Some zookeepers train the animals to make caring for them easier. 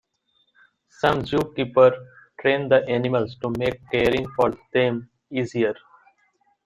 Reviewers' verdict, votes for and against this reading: rejected, 1, 2